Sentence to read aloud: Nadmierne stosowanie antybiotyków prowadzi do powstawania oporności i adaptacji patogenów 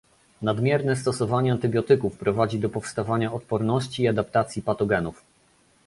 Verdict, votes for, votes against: rejected, 1, 2